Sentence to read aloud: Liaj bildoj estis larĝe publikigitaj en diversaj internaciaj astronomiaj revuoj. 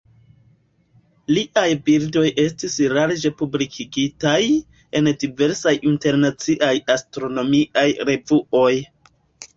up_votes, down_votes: 2, 1